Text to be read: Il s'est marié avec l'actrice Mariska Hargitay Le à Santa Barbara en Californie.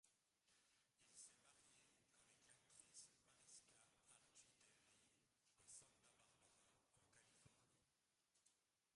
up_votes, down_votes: 0, 2